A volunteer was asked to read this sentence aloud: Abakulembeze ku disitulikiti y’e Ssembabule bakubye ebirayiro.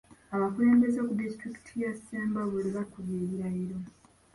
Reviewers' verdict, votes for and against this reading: rejected, 2, 3